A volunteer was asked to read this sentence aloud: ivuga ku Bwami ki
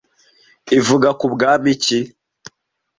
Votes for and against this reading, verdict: 2, 0, accepted